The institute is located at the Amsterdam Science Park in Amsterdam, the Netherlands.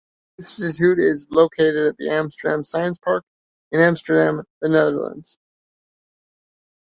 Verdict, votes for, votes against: rejected, 0, 2